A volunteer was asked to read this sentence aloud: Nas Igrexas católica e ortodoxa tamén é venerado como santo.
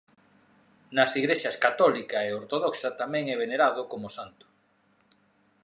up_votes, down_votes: 2, 0